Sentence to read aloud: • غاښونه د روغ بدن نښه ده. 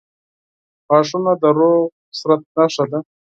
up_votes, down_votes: 2, 4